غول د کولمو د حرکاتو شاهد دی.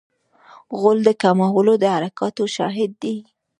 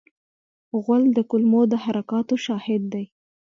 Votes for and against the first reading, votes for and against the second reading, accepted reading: 0, 2, 2, 1, second